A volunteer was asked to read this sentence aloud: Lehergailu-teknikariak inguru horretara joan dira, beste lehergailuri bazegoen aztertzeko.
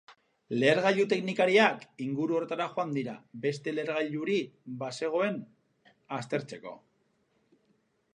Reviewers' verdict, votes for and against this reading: accepted, 2, 0